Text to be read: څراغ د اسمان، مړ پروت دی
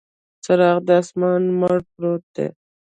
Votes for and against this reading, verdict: 1, 2, rejected